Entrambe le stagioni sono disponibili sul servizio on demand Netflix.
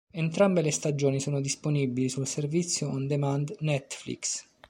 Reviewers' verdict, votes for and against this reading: accepted, 2, 0